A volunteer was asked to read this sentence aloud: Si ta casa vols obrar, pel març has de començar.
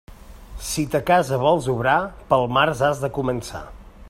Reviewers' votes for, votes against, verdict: 2, 0, accepted